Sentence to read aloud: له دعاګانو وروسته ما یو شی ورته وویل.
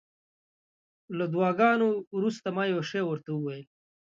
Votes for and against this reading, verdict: 2, 1, accepted